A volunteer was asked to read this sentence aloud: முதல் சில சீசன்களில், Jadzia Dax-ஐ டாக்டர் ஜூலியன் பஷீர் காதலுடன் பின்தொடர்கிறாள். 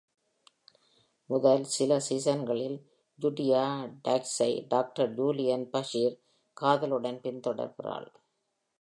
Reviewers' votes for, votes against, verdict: 2, 0, accepted